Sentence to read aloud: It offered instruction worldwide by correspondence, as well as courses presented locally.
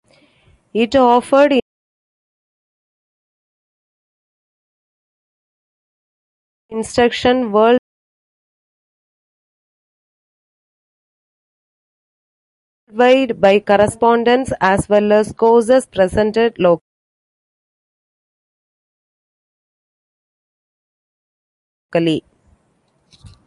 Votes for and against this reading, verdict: 0, 2, rejected